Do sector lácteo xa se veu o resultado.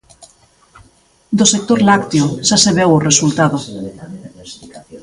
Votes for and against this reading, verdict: 1, 2, rejected